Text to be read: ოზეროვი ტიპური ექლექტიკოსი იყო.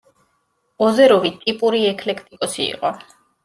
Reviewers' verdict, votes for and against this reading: accepted, 2, 0